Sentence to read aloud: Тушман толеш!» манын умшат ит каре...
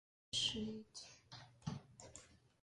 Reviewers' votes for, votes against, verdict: 0, 2, rejected